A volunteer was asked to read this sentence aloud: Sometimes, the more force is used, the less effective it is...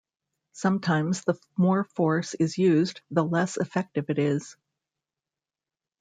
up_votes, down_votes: 0, 2